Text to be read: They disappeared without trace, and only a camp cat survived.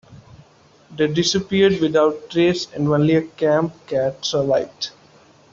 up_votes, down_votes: 2, 1